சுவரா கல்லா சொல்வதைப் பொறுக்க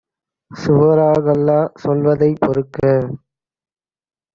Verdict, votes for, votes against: rejected, 1, 2